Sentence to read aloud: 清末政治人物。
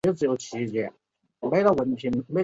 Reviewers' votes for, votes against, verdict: 0, 2, rejected